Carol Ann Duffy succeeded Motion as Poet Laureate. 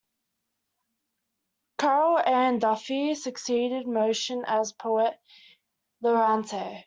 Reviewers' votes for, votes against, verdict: 0, 2, rejected